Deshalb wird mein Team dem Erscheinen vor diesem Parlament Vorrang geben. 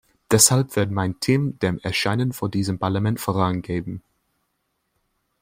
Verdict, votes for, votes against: rejected, 1, 2